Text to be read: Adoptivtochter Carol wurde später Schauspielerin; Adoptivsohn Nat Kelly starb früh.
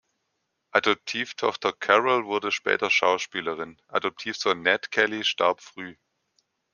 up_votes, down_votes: 2, 0